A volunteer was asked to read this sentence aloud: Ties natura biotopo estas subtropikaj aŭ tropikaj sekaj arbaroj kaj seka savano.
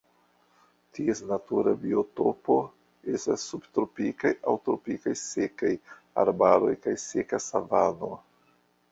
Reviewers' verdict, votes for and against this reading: rejected, 1, 2